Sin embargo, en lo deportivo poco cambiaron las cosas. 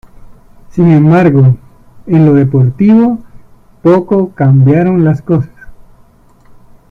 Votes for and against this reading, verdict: 0, 2, rejected